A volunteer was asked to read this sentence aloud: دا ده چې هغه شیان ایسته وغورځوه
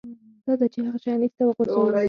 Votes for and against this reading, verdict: 4, 0, accepted